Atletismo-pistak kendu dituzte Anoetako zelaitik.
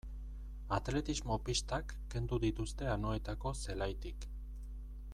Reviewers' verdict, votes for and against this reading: accepted, 2, 0